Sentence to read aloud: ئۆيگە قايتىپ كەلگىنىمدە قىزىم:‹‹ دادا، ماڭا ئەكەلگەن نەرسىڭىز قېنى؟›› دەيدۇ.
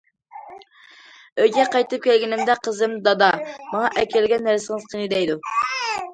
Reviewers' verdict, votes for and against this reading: accepted, 2, 0